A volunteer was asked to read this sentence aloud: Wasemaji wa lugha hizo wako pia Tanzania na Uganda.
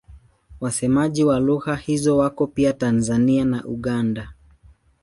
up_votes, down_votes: 12, 2